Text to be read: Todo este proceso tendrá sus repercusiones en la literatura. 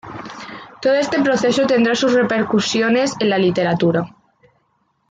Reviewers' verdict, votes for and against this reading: accepted, 2, 0